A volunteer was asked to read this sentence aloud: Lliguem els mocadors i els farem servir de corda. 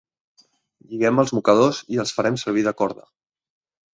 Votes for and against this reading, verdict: 2, 0, accepted